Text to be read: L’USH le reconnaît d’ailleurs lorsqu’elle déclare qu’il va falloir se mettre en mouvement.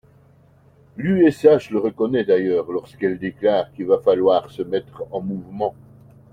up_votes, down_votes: 2, 0